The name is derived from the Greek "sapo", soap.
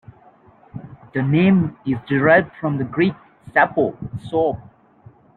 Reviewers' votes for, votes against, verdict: 2, 0, accepted